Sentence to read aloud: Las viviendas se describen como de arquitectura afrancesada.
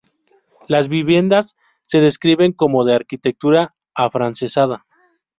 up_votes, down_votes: 2, 2